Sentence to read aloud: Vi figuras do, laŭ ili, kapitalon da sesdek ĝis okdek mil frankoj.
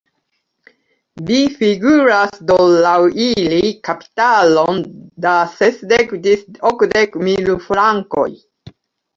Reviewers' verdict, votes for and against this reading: rejected, 1, 2